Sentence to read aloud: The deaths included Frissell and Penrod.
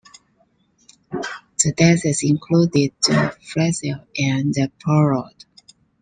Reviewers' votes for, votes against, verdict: 0, 2, rejected